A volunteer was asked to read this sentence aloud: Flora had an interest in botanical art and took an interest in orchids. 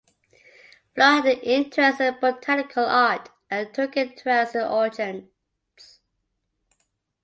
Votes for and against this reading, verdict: 0, 2, rejected